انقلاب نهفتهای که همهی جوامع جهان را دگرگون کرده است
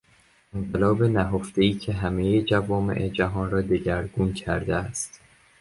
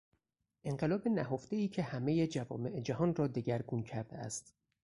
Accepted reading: first